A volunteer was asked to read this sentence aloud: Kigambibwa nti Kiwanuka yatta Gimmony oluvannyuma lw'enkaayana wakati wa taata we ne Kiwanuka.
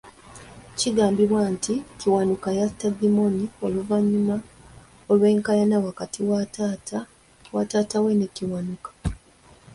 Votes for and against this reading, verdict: 2, 1, accepted